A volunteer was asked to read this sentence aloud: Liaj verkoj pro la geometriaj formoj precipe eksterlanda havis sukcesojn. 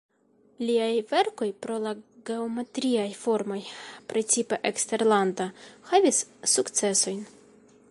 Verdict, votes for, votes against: accepted, 2, 0